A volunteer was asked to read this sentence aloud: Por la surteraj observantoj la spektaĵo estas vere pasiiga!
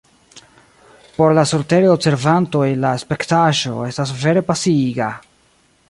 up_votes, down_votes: 0, 2